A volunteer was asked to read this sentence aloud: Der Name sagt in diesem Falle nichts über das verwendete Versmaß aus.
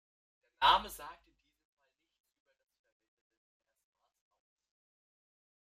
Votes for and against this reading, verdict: 0, 2, rejected